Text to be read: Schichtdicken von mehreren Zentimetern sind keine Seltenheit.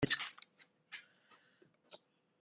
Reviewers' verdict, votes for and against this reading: rejected, 0, 2